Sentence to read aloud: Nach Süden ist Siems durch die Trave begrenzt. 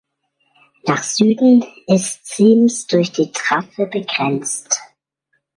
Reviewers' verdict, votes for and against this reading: accepted, 2, 1